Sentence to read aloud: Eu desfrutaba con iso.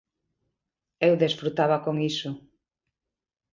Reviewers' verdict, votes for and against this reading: accepted, 3, 1